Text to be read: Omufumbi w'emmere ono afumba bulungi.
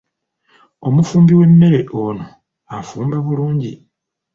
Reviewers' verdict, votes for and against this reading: accepted, 2, 0